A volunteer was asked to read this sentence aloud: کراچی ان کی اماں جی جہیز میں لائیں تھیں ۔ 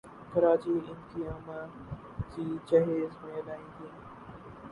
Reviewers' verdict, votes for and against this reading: rejected, 0, 2